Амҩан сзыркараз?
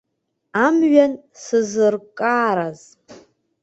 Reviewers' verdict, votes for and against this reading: rejected, 0, 2